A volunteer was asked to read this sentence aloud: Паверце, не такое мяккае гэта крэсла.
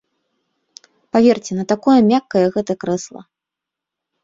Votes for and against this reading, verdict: 1, 2, rejected